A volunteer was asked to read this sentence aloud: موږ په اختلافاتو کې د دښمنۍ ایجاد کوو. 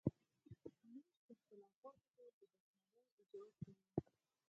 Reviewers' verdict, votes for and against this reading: rejected, 2, 4